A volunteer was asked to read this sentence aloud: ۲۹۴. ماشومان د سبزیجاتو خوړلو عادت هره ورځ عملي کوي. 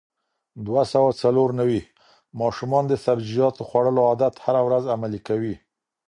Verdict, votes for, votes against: rejected, 0, 2